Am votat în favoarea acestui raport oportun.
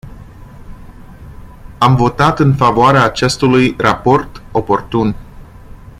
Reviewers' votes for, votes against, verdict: 0, 2, rejected